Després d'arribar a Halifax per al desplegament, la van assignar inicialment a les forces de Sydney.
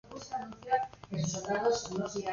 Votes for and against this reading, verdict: 0, 3, rejected